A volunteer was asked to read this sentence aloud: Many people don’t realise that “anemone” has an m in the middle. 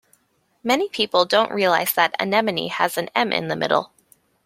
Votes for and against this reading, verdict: 2, 0, accepted